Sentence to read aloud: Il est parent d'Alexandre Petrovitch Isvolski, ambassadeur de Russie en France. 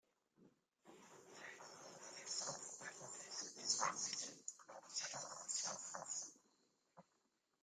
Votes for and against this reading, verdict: 0, 2, rejected